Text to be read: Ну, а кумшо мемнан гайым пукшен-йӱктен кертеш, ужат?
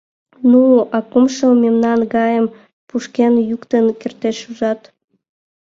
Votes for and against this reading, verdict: 1, 2, rejected